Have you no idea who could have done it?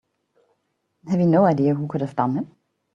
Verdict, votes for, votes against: accepted, 3, 0